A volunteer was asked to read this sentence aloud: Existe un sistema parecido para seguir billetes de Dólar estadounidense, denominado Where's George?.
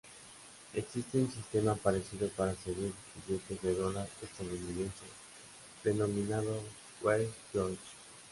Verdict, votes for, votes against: accepted, 2, 0